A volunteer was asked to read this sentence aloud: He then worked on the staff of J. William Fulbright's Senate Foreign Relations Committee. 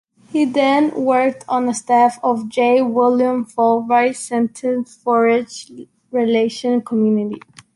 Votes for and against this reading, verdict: 0, 2, rejected